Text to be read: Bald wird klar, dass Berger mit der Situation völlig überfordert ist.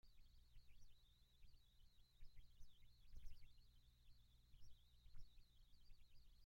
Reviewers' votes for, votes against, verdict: 0, 2, rejected